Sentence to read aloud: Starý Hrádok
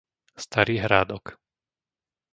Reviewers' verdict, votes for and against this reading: accepted, 2, 0